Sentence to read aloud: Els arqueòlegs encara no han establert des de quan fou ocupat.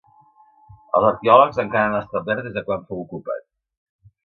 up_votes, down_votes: 1, 2